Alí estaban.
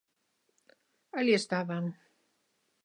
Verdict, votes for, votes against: accepted, 2, 0